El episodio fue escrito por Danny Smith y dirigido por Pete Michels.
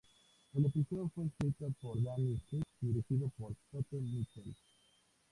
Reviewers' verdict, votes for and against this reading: rejected, 0, 2